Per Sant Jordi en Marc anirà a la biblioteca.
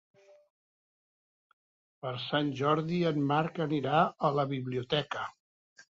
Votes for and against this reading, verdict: 4, 0, accepted